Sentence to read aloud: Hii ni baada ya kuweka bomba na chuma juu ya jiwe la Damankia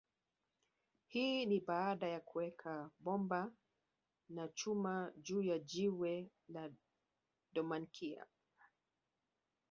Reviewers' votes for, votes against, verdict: 0, 2, rejected